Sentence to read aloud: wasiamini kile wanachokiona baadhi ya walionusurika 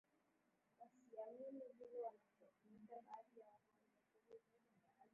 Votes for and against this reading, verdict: 4, 13, rejected